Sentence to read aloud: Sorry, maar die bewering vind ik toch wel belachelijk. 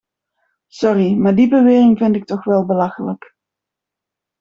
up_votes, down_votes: 2, 0